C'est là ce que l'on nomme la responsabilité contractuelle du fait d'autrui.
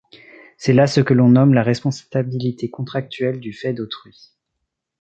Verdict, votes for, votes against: rejected, 1, 2